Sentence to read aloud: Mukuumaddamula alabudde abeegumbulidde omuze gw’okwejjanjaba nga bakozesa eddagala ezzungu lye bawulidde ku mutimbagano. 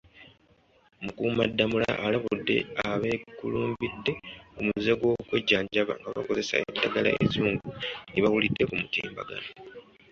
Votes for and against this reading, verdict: 0, 2, rejected